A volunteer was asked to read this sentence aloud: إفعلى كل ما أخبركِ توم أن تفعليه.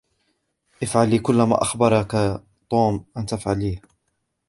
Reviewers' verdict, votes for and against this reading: rejected, 0, 2